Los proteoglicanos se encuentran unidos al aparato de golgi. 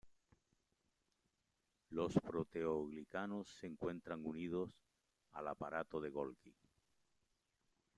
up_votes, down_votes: 2, 0